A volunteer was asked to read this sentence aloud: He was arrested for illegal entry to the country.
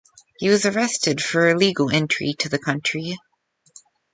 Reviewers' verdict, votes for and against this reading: accepted, 2, 0